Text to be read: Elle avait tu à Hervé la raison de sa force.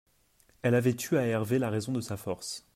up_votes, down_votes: 2, 0